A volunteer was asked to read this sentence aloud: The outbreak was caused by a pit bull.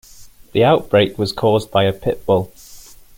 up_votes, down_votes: 2, 0